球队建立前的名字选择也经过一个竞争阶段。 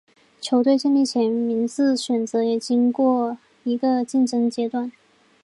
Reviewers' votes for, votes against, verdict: 4, 0, accepted